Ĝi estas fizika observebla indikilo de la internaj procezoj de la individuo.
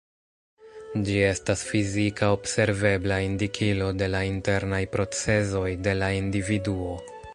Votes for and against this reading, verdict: 2, 0, accepted